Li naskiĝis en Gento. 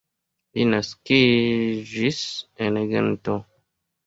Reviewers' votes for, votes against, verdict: 2, 1, accepted